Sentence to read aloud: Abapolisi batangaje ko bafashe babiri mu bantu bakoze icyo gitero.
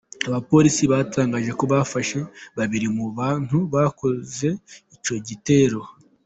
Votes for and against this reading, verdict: 2, 0, accepted